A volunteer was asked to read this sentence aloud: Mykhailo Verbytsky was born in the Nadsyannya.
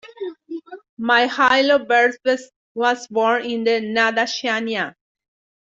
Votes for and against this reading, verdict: 2, 1, accepted